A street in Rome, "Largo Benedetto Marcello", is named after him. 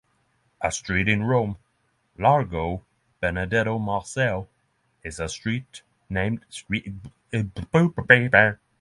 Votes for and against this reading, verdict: 0, 6, rejected